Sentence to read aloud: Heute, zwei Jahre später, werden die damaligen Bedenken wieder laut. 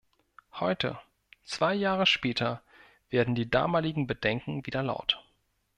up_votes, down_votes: 2, 0